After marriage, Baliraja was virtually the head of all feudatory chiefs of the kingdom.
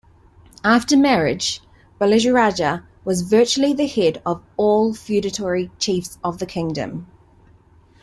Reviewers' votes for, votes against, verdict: 0, 2, rejected